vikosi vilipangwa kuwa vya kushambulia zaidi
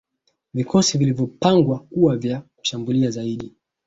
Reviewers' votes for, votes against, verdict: 2, 0, accepted